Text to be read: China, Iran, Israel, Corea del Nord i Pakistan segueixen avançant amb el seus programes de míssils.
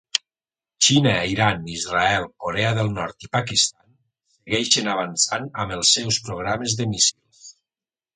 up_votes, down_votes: 1, 2